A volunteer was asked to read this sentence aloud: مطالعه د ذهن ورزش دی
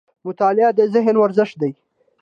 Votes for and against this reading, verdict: 2, 0, accepted